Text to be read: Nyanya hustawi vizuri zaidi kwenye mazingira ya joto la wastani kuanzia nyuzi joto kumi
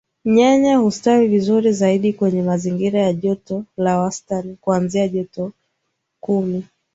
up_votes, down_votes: 1, 2